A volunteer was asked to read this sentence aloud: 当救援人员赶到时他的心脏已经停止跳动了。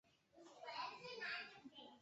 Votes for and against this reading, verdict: 0, 2, rejected